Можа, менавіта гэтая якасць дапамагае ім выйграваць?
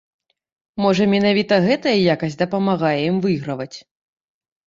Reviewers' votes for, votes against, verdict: 1, 2, rejected